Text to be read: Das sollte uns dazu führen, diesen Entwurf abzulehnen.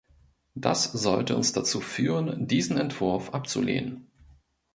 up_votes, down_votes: 2, 0